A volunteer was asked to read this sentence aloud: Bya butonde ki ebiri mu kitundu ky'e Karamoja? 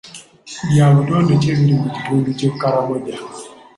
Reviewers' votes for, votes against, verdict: 2, 0, accepted